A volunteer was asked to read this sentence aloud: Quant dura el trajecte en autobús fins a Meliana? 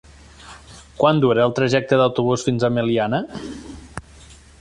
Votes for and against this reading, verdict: 1, 2, rejected